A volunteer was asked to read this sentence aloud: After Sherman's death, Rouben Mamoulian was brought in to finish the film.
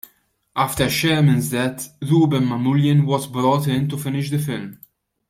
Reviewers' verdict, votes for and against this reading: accepted, 2, 0